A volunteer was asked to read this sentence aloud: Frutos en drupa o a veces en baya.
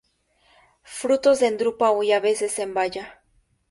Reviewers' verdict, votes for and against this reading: rejected, 2, 4